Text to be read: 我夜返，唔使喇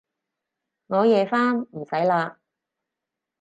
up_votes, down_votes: 4, 0